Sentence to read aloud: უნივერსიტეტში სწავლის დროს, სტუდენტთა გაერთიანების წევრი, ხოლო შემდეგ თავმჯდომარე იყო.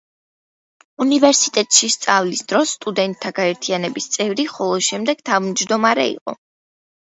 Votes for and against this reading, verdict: 2, 0, accepted